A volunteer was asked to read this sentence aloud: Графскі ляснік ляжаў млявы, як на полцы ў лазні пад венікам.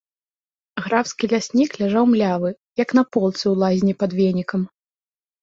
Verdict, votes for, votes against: accepted, 2, 0